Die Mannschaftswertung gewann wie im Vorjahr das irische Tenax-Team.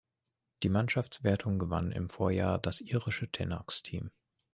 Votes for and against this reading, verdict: 1, 2, rejected